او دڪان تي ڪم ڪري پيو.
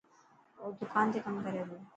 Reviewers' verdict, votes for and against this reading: accepted, 4, 0